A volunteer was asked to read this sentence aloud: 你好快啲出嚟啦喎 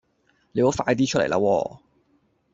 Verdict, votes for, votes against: accepted, 2, 0